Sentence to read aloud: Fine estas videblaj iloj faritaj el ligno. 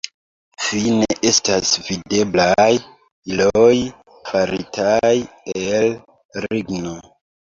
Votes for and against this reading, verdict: 1, 2, rejected